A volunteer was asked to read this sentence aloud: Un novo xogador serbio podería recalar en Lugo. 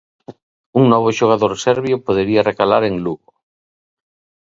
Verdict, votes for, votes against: accepted, 2, 0